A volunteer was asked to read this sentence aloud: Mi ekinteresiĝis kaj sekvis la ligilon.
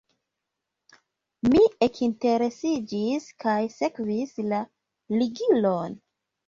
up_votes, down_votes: 2, 0